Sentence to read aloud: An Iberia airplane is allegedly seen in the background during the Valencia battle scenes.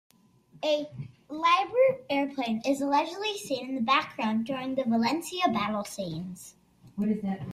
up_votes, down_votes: 1, 2